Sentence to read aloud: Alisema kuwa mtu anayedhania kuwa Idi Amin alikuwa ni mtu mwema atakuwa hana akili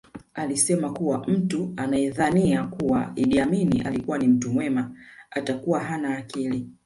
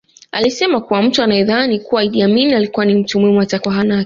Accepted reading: first